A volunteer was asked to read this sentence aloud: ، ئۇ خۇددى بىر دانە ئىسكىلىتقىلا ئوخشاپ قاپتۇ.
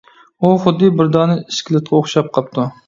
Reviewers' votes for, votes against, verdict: 2, 1, accepted